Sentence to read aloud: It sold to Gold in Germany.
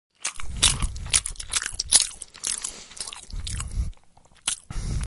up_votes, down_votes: 0, 2